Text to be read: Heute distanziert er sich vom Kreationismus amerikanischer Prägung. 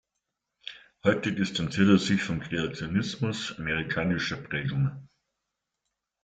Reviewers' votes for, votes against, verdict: 1, 2, rejected